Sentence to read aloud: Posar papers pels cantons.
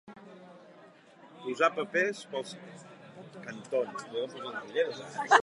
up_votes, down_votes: 0, 4